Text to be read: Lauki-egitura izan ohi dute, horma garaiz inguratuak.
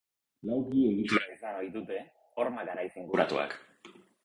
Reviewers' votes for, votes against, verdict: 0, 4, rejected